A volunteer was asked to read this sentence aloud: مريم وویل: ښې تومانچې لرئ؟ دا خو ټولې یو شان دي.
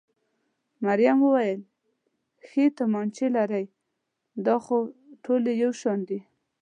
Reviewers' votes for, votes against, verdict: 2, 0, accepted